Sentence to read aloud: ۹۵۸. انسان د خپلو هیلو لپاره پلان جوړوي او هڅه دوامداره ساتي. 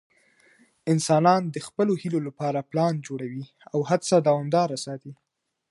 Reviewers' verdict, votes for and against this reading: rejected, 0, 2